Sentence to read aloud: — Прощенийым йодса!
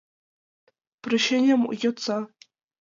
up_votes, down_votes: 2, 1